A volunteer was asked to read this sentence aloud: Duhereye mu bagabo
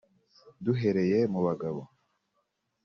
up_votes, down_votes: 3, 0